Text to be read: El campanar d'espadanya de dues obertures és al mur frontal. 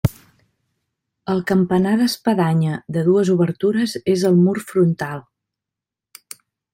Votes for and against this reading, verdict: 2, 0, accepted